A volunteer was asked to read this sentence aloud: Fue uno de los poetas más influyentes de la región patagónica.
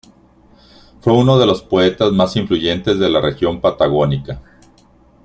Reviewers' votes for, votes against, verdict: 2, 0, accepted